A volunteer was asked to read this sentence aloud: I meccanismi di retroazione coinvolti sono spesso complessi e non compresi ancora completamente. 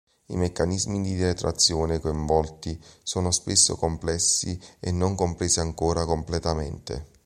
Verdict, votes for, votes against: accepted, 2, 0